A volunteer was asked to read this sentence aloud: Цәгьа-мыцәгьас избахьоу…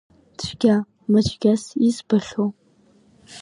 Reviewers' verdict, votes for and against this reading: accepted, 2, 1